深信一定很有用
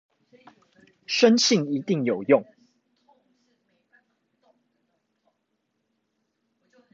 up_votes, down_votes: 0, 2